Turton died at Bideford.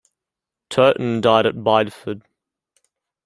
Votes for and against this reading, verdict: 2, 0, accepted